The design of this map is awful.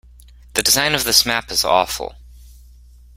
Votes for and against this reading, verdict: 2, 0, accepted